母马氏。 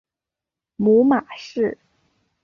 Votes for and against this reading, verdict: 3, 0, accepted